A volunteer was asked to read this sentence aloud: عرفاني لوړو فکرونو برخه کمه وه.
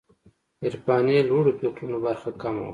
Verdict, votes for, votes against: rejected, 0, 2